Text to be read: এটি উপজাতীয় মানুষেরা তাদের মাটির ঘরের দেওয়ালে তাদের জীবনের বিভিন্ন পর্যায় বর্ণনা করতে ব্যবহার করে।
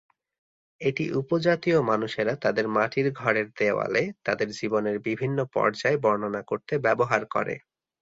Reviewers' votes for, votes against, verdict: 2, 1, accepted